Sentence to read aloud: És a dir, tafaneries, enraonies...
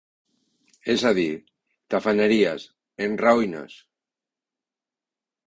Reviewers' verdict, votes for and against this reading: rejected, 1, 3